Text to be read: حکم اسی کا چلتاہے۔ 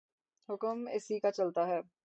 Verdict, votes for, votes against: rejected, 0, 3